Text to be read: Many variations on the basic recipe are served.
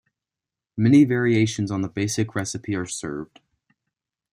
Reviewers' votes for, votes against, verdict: 2, 0, accepted